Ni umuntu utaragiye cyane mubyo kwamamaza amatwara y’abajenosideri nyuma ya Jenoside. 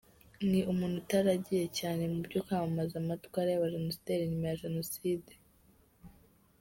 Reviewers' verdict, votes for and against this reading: accepted, 2, 1